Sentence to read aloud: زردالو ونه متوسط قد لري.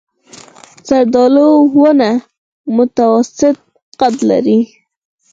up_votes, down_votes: 0, 4